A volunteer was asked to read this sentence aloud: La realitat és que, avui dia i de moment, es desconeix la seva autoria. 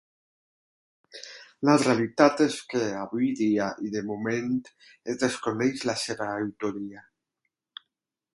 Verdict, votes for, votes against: accepted, 8, 0